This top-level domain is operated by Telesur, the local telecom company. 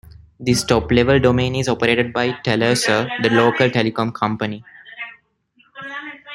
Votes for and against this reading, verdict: 1, 2, rejected